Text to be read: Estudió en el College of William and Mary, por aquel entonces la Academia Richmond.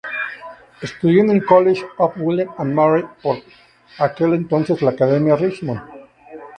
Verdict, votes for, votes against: accepted, 2, 0